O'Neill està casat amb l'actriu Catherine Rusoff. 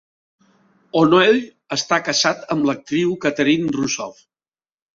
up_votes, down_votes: 3, 0